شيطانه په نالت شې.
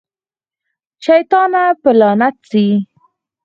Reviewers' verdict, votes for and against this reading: accepted, 4, 0